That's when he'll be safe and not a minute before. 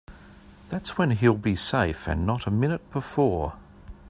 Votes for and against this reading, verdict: 2, 0, accepted